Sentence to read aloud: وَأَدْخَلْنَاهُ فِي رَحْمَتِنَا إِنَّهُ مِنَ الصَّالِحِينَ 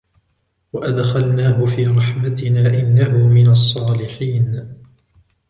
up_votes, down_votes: 2, 1